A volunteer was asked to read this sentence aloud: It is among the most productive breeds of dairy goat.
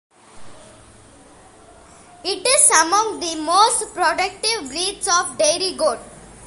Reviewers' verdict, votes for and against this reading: accepted, 2, 1